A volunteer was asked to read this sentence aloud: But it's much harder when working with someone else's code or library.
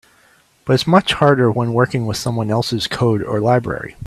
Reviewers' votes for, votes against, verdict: 2, 0, accepted